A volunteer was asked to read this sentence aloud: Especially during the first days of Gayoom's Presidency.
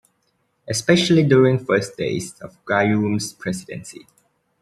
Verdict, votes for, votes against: accepted, 2, 0